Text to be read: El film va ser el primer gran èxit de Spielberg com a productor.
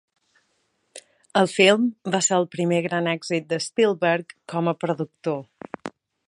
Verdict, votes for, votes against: accepted, 2, 0